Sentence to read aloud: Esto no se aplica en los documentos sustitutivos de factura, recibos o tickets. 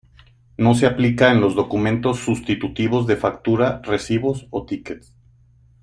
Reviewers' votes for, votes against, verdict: 1, 2, rejected